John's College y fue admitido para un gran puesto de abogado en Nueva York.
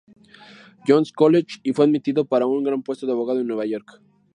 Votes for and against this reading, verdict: 0, 2, rejected